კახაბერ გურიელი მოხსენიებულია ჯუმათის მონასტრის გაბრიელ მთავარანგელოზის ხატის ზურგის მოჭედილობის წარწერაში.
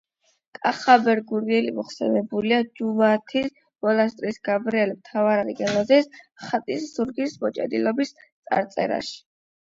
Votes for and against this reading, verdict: 8, 4, accepted